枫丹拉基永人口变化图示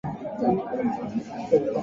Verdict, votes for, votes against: rejected, 1, 4